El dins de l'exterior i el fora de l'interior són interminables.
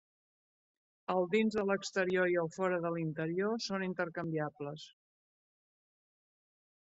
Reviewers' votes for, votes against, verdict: 0, 2, rejected